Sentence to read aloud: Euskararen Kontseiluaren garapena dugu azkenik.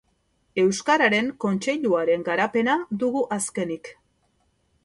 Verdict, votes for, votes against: accepted, 2, 0